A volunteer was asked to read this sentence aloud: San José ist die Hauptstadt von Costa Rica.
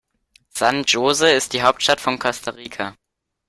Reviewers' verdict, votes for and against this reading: rejected, 1, 2